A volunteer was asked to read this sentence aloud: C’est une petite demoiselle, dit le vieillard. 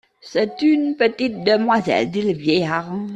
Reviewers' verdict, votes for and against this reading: accepted, 2, 0